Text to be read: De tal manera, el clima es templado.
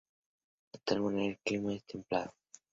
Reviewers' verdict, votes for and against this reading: accepted, 2, 0